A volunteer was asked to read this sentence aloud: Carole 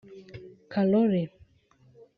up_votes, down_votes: 1, 2